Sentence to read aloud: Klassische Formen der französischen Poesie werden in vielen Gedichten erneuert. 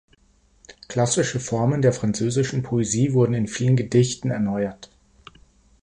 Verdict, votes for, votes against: rejected, 1, 2